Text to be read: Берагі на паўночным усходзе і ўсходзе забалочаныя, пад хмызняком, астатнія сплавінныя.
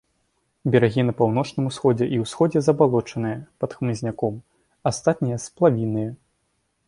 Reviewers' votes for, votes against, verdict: 3, 0, accepted